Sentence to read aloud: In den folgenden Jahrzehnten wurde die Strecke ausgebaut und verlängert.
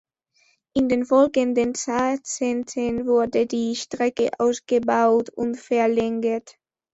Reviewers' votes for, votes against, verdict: 0, 2, rejected